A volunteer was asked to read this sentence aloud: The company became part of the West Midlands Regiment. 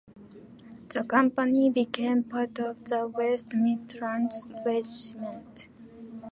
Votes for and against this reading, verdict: 0, 2, rejected